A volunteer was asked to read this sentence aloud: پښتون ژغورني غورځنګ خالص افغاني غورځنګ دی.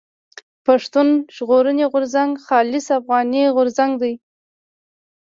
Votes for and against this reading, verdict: 1, 2, rejected